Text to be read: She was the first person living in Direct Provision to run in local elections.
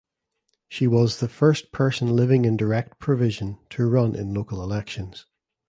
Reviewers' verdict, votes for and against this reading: accepted, 2, 0